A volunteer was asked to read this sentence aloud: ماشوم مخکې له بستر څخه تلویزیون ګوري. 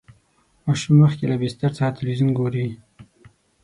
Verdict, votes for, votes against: accepted, 6, 0